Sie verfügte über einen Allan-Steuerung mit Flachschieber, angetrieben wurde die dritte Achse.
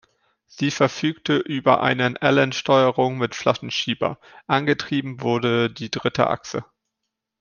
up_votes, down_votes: 1, 2